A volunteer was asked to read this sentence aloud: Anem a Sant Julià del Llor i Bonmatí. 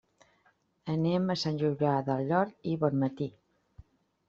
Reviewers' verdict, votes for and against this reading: accepted, 2, 1